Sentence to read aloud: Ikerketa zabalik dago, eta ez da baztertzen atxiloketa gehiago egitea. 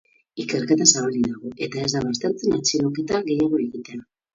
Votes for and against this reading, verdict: 2, 4, rejected